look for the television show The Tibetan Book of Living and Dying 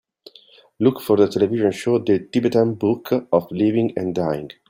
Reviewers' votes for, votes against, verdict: 2, 0, accepted